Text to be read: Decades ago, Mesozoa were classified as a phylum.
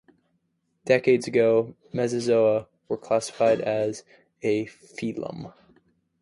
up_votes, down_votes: 0, 2